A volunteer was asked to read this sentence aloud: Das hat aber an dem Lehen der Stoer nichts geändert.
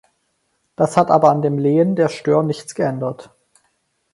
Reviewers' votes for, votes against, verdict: 4, 0, accepted